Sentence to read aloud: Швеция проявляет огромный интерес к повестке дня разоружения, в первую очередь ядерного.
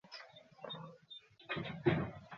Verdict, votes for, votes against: rejected, 0, 2